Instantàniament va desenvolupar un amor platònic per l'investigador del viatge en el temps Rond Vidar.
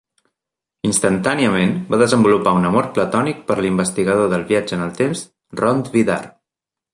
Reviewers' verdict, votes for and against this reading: accepted, 2, 0